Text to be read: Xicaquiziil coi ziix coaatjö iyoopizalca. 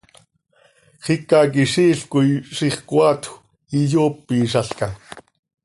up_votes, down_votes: 2, 0